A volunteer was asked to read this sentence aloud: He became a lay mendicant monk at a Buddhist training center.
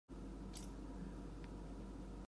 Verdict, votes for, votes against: rejected, 0, 2